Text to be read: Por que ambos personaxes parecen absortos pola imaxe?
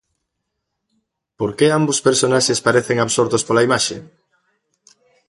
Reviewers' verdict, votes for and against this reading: rejected, 1, 2